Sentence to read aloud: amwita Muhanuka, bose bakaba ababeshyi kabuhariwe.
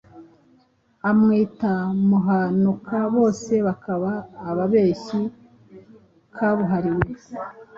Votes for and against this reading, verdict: 2, 0, accepted